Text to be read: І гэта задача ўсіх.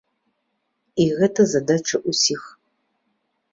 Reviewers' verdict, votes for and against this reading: accepted, 2, 0